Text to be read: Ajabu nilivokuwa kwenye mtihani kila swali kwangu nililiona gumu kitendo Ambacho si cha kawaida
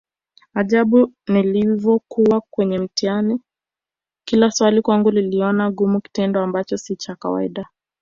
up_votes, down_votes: 2, 0